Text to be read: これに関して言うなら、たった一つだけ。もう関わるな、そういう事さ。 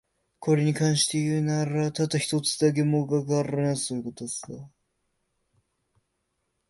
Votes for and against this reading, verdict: 1, 2, rejected